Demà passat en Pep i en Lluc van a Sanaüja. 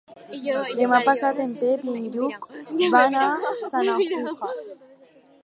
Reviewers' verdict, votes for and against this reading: accepted, 4, 0